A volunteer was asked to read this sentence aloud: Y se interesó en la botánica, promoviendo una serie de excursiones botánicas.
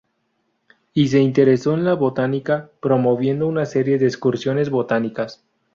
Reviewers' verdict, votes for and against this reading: accepted, 2, 0